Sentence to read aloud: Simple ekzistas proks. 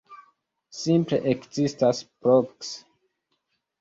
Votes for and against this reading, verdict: 0, 2, rejected